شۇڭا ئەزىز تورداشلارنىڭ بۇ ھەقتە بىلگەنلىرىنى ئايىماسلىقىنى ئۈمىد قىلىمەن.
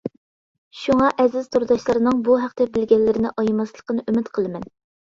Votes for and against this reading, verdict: 2, 0, accepted